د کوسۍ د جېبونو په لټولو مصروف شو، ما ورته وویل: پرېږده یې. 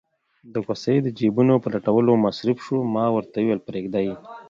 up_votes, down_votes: 2, 0